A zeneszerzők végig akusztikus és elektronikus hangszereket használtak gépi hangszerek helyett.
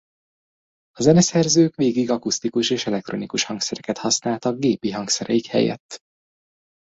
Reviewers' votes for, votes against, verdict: 1, 2, rejected